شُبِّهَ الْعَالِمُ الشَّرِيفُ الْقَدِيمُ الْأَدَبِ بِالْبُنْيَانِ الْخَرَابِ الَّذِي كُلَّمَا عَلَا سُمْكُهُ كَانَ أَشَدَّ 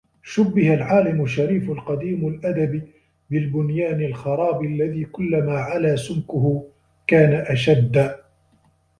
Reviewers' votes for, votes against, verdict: 1, 2, rejected